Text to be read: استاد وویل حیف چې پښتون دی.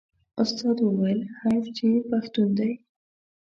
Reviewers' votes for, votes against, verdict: 2, 0, accepted